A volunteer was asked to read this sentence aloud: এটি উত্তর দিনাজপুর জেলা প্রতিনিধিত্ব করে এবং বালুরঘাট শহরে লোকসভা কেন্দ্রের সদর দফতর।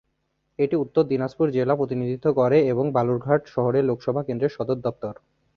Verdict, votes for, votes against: accepted, 2, 0